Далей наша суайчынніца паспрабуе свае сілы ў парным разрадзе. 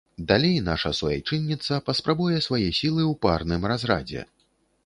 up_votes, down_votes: 3, 0